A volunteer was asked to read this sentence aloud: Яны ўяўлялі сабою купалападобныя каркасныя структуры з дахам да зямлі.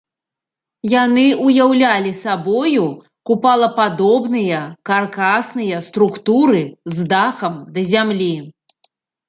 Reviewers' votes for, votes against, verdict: 2, 0, accepted